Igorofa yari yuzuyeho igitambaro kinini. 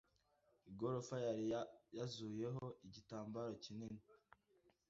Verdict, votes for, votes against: rejected, 1, 2